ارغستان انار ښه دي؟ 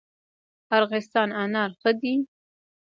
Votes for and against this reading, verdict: 1, 2, rejected